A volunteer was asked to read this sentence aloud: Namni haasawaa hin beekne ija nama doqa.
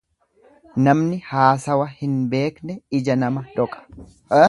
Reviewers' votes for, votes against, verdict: 1, 2, rejected